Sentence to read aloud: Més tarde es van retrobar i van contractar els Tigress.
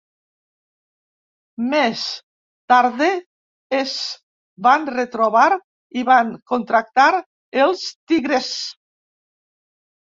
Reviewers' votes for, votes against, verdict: 1, 2, rejected